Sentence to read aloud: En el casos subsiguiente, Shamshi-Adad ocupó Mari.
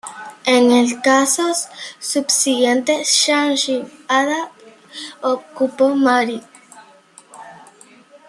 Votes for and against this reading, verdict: 2, 0, accepted